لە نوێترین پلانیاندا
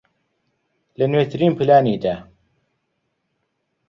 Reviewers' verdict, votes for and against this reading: rejected, 0, 2